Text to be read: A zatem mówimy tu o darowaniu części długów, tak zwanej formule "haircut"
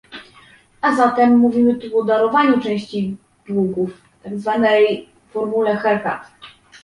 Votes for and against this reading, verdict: 2, 0, accepted